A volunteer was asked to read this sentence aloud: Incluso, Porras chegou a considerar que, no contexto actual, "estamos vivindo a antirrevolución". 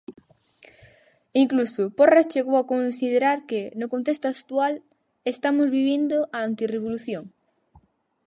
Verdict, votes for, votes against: rejected, 0, 4